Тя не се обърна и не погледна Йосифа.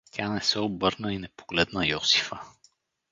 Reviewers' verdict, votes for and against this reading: accepted, 4, 0